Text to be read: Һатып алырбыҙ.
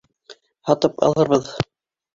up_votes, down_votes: 1, 2